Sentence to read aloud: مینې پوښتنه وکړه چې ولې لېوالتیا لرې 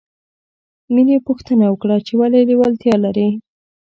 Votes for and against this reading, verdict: 2, 0, accepted